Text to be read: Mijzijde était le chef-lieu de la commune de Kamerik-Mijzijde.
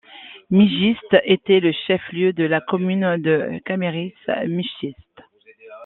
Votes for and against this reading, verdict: 2, 1, accepted